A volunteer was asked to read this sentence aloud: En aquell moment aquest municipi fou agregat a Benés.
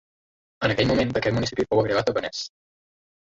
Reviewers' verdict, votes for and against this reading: rejected, 1, 2